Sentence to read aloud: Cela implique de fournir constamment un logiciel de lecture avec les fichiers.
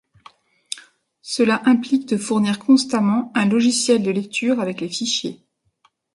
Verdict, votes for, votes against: accepted, 2, 0